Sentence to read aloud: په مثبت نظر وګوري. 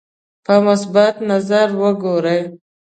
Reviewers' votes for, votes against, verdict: 0, 2, rejected